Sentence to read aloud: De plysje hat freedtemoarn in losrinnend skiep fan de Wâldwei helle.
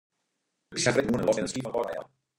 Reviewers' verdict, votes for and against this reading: rejected, 0, 2